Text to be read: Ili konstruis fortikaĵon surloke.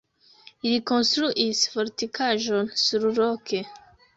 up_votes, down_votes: 1, 2